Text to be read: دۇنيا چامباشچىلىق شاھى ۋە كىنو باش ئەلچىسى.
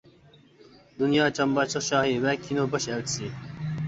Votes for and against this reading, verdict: 2, 0, accepted